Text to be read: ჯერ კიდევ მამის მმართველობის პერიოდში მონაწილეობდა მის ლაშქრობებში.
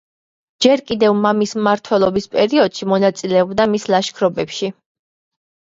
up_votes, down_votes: 2, 1